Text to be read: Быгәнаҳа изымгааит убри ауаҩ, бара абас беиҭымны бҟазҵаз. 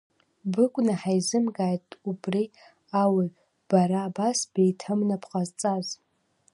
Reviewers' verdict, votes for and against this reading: accepted, 2, 0